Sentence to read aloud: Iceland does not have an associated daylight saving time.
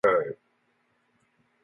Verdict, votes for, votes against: rejected, 0, 2